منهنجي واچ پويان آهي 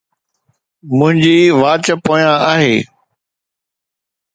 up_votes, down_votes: 2, 0